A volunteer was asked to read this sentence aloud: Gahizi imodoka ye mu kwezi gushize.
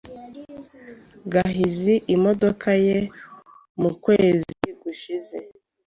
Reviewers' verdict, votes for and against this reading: accepted, 2, 0